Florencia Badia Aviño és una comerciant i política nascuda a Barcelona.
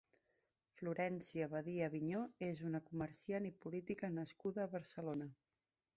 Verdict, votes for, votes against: accepted, 3, 0